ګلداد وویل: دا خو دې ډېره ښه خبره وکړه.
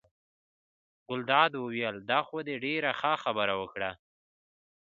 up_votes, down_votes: 2, 0